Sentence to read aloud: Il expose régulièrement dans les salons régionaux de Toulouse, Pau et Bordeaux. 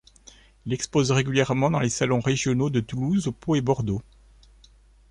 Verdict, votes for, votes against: rejected, 1, 2